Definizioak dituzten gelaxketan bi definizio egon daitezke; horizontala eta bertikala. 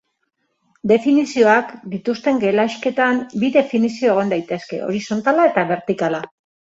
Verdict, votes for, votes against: accepted, 2, 1